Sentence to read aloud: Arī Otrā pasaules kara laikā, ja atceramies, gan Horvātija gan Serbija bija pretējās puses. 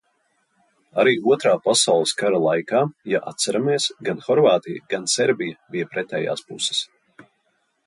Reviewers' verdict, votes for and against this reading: accepted, 2, 0